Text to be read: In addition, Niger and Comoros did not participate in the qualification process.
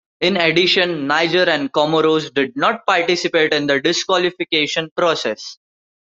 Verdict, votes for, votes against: rejected, 0, 2